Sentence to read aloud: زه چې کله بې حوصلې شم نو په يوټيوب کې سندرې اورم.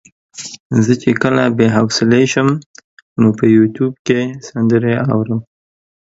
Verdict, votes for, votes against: accepted, 2, 0